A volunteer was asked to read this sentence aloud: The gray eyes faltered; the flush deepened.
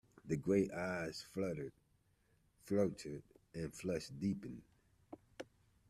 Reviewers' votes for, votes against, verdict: 0, 2, rejected